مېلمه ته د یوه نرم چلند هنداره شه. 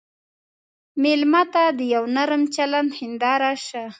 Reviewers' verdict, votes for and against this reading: accepted, 3, 0